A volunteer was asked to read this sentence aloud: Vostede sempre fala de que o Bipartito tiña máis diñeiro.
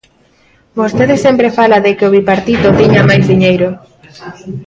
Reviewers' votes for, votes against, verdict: 0, 2, rejected